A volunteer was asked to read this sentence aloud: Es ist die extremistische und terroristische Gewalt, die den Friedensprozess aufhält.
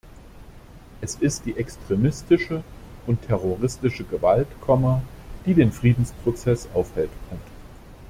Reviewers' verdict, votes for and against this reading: rejected, 1, 2